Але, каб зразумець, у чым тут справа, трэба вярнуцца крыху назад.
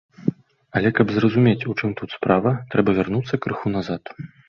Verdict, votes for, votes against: accepted, 2, 0